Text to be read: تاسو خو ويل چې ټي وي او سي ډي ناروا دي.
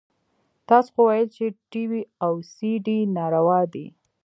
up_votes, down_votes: 1, 2